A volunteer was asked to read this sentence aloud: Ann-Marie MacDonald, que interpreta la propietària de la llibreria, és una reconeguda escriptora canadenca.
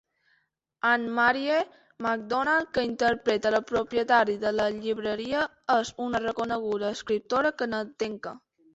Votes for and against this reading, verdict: 1, 2, rejected